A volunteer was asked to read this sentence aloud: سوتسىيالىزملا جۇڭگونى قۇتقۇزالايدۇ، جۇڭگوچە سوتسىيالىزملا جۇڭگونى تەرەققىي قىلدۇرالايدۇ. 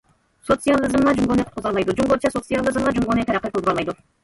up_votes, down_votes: 0, 2